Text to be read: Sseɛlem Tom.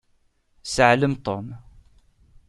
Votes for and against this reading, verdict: 2, 0, accepted